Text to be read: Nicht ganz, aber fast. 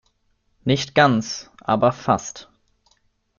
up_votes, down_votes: 2, 0